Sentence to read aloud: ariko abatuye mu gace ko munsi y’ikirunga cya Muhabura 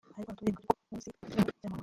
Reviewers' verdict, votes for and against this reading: rejected, 0, 2